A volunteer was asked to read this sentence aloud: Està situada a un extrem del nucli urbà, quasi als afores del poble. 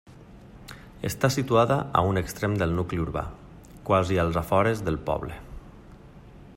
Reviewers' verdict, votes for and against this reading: accepted, 3, 0